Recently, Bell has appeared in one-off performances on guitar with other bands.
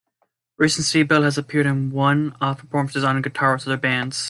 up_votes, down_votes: 1, 2